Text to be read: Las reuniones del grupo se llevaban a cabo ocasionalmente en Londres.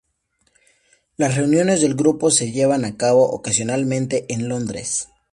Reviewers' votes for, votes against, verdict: 2, 0, accepted